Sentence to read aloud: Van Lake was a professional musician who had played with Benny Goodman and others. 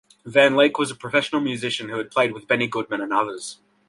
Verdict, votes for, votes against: accepted, 2, 0